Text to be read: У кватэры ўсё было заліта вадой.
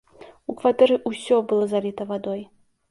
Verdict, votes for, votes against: accepted, 2, 0